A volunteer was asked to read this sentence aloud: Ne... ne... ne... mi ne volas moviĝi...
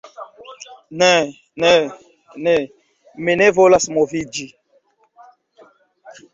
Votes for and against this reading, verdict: 1, 2, rejected